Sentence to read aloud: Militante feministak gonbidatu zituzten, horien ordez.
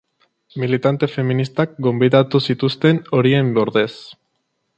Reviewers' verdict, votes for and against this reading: accepted, 2, 0